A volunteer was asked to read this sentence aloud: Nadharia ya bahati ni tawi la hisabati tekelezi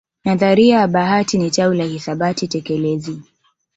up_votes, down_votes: 2, 0